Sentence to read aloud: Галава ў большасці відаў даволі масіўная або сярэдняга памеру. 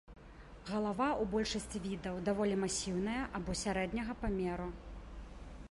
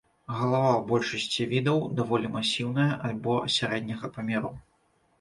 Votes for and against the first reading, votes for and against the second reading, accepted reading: 2, 0, 0, 2, first